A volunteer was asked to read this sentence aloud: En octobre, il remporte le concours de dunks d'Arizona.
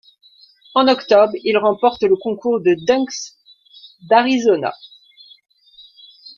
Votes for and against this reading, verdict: 1, 2, rejected